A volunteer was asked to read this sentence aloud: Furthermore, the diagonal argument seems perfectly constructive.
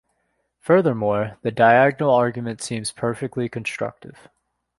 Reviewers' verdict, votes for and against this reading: accepted, 2, 0